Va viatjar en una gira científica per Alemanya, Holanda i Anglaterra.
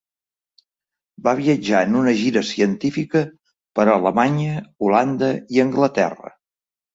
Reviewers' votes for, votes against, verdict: 3, 0, accepted